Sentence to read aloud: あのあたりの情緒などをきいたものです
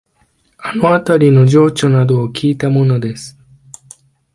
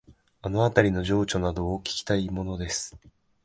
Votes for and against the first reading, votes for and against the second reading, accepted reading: 2, 0, 0, 2, first